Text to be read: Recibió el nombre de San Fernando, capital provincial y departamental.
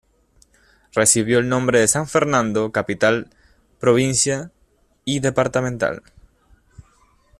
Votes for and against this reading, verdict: 0, 2, rejected